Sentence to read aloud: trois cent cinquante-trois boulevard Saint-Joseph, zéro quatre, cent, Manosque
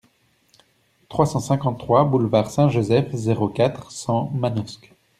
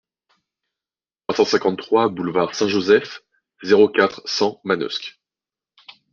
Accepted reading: first